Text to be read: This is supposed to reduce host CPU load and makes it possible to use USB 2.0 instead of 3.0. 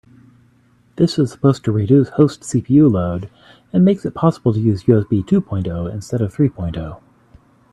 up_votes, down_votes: 0, 2